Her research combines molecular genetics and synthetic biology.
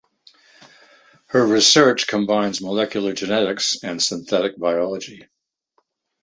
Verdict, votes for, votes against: accepted, 2, 0